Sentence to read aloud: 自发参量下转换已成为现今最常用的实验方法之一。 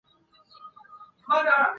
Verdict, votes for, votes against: rejected, 0, 2